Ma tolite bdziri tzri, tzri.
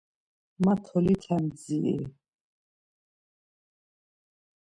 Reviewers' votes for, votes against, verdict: 0, 2, rejected